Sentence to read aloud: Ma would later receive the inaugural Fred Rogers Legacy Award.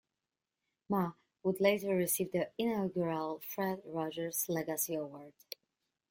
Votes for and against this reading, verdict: 2, 0, accepted